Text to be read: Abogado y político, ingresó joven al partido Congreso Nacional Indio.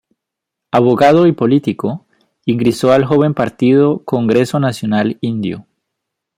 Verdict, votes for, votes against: rejected, 1, 2